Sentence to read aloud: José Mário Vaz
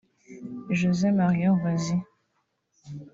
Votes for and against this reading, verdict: 1, 3, rejected